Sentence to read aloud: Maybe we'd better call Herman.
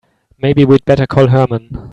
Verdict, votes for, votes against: accepted, 2, 0